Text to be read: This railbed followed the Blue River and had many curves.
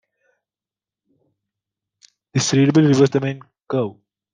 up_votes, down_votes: 0, 2